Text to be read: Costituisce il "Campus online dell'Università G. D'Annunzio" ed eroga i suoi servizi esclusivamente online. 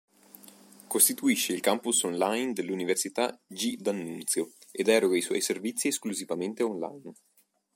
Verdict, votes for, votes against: accepted, 2, 0